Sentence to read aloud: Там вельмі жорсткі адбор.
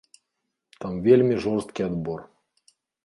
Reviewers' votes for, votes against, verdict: 2, 0, accepted